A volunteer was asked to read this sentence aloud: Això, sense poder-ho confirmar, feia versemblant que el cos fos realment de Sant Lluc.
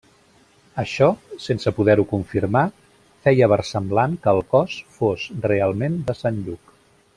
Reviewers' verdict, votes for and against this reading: accepted, 3, 0